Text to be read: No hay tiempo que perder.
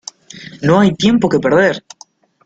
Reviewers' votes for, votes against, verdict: 2, 0, accepted